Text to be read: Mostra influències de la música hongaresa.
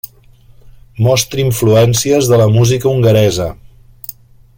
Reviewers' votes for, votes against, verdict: 3, 0, accepted